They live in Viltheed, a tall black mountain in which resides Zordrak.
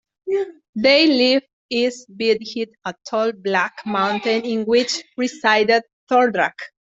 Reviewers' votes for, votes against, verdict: 0, 2, rejected